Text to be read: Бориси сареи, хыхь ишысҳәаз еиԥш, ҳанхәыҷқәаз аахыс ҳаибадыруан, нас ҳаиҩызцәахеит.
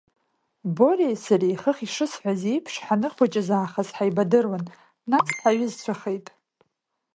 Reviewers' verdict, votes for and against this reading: rejected, 1, 2